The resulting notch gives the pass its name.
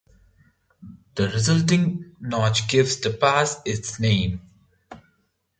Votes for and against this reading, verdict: 1, 2, rejected